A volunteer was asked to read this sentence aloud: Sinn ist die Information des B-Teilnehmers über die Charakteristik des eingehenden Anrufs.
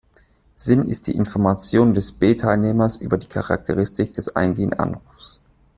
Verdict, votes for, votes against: accepted, 2, 1